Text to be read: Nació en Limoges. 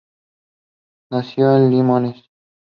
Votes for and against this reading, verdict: 2, 0, accepted